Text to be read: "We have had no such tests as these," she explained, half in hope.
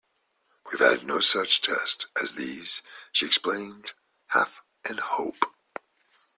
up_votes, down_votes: 2, 1